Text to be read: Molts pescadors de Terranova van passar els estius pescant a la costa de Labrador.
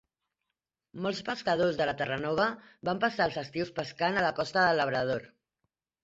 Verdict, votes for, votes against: rejected, 0, 3